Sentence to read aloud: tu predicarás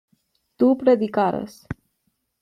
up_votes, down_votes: 2, 1